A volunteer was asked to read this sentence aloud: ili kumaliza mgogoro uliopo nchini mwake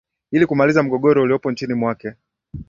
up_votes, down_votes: 13, 1